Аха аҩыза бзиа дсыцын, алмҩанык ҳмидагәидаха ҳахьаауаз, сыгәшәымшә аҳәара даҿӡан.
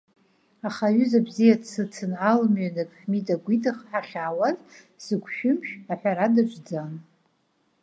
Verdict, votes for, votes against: accepted, 2, 0